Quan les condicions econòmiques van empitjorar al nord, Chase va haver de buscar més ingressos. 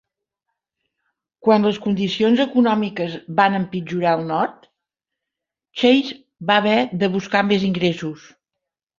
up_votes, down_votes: 1, 2